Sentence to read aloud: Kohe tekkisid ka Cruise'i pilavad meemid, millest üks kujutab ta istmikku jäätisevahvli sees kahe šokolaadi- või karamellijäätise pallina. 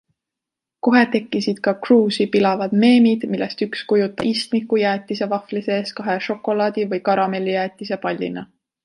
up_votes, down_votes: 1, 2